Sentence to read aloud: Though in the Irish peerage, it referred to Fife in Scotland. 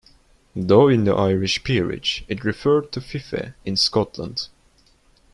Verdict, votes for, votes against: rejected, 0, 3